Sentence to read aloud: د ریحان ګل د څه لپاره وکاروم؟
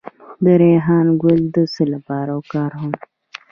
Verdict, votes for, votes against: accepted, 2, 0